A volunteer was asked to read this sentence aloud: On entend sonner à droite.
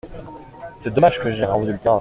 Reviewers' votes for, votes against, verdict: 0, 2, rejected